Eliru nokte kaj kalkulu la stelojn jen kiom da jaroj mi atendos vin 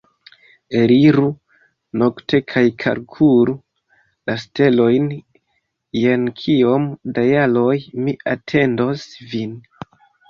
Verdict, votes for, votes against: accepted, 2, 0